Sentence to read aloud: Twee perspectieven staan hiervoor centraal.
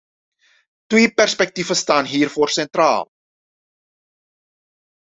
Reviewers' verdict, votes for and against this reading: accepted, 2, 0